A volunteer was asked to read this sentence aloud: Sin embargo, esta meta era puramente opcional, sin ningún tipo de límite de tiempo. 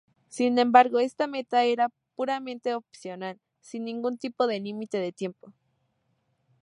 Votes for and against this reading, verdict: 2, 0, accepted